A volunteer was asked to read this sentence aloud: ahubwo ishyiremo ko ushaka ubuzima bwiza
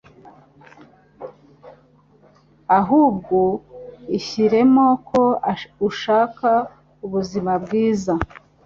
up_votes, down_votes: 2, 0